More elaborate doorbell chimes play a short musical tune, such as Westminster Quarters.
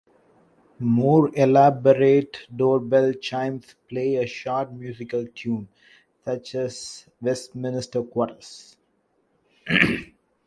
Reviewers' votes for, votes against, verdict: 0, 2, rejected